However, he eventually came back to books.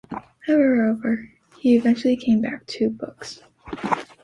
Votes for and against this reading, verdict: 1, 2, rejected